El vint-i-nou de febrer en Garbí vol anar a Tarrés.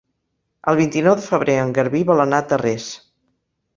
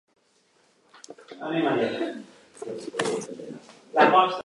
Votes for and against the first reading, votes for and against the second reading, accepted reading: 2, 0, 0, 2, first